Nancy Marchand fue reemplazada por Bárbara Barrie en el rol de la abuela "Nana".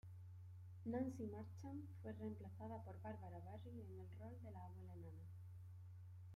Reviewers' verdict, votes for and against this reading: rejected, 0, 2